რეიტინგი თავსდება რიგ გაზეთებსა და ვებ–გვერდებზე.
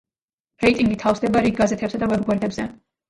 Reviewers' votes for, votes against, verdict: 1, 2, rejected